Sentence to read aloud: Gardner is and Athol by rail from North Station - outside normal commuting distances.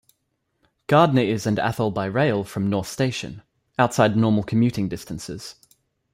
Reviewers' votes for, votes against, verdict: 2, 0, accepted